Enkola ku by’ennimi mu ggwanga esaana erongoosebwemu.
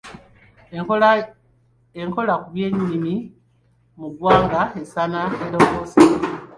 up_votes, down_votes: 1, 2